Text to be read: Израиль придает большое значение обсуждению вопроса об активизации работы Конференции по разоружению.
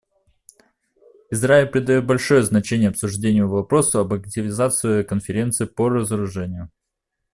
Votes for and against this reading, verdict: 0, 2, rejected